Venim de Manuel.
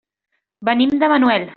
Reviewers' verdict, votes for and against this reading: accepted, 3, 0